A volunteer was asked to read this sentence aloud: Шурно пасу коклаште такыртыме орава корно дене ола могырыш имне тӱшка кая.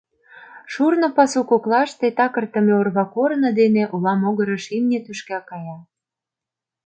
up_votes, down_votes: 0, 2